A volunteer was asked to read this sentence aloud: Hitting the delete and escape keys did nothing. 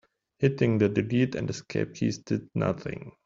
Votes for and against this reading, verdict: 1, 2, rejected